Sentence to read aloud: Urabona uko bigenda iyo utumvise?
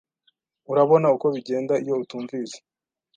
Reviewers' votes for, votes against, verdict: 2, 0, accepted